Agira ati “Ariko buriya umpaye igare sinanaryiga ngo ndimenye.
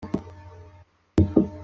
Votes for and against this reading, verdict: 0, 2, rejected